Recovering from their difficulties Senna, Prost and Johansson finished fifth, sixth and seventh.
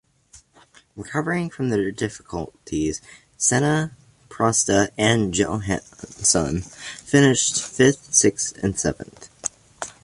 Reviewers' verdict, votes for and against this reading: accepted, 2, 0